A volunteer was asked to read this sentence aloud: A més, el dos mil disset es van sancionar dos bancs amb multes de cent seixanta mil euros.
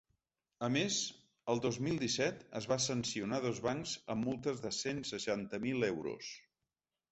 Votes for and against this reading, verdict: 0, 2, rejected